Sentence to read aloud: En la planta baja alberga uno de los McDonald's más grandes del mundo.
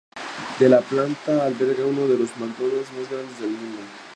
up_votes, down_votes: 0, 2